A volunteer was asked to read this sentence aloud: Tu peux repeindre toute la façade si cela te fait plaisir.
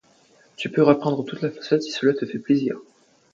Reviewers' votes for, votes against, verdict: 2, 0, accepted